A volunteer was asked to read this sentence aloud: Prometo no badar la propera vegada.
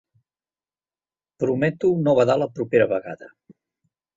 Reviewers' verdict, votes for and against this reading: accepted, 4, 1